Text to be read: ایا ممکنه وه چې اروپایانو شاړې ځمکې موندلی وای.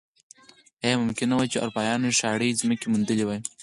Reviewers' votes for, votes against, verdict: 2, 4, rejected